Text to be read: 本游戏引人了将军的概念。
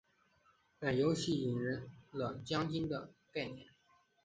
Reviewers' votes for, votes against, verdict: 2, 0, accepted